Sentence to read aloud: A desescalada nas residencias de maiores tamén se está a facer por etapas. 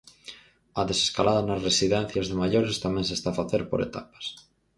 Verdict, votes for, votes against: accepted, 4, 0